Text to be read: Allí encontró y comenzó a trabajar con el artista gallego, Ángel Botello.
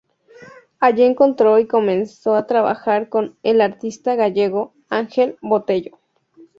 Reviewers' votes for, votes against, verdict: 2, 0, accepted